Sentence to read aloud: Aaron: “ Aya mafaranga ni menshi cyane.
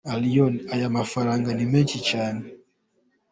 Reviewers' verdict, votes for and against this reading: accepted, 2, 0